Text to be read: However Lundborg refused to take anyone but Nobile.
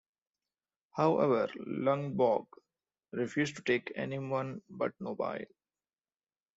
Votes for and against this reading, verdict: 2, 1, accepted